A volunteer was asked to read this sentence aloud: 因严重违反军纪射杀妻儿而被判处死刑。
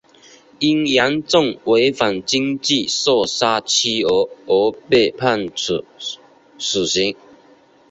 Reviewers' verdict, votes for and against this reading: accepted, 2, 0